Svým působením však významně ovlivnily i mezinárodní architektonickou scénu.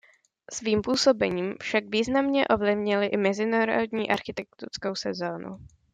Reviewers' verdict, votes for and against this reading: rejected, 1, 2